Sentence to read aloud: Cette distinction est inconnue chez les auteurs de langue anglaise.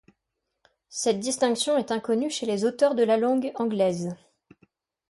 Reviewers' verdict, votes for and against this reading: rejected, 2, 3